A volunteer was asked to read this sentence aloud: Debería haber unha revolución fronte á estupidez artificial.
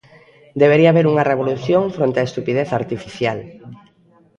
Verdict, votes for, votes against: accepted, 2, 0